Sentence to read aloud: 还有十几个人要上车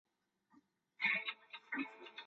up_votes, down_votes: 1, 2